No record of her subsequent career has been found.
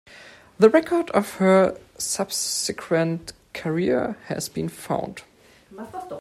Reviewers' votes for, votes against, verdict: 0, 2, rejected